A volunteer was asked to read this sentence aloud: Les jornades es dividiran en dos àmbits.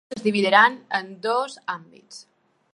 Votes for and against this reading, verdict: 0, 2, rejected